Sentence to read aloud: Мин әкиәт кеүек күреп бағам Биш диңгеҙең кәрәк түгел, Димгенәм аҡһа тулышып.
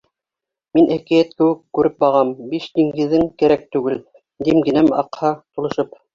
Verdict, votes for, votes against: rejected, 0, 2